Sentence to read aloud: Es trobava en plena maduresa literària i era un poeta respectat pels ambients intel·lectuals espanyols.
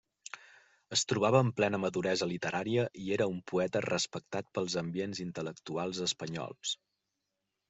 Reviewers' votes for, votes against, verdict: 3, 0, accepted